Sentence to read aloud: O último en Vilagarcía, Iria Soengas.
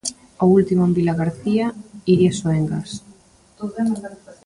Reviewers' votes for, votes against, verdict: 1, 2, rejected